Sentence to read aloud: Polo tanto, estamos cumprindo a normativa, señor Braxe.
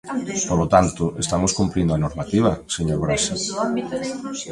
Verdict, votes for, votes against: rejected, 1, 2